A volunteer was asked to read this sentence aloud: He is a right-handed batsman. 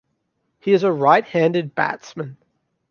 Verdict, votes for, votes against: accepted, 2, 0